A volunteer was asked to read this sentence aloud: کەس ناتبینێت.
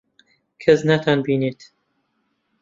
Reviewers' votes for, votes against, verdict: 0, 2, rejected